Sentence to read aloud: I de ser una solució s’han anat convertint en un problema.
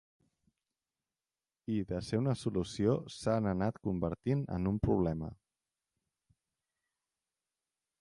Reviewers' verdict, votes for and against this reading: accepted, 4, 0